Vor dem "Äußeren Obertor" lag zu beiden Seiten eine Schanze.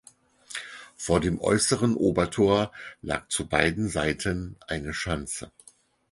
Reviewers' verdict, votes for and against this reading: accepted, 4, 0